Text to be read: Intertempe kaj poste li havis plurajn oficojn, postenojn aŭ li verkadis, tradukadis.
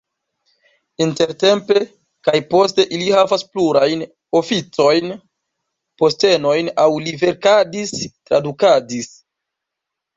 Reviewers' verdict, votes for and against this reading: rejected, 0, 2